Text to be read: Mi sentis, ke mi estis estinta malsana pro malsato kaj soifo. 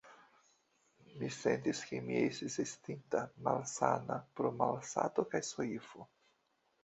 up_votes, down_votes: 2, 0